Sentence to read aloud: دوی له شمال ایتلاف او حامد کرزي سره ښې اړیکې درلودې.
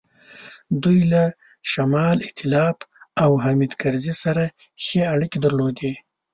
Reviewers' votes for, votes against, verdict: 2, 0, accepted